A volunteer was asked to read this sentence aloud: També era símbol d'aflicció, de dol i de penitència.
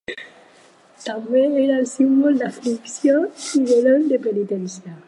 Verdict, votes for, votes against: rejected, 2, 4